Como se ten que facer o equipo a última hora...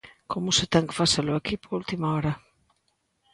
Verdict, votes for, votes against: accepted, 3, 0